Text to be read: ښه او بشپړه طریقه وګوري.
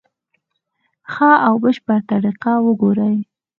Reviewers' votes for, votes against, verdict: 4, 0, accepted